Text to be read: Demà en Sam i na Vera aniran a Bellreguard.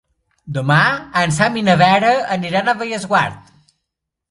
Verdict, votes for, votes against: rejected, 0, 2